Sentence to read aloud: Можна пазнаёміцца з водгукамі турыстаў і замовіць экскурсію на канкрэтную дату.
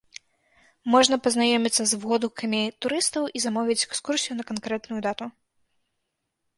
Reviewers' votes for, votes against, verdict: 2, 0, accepted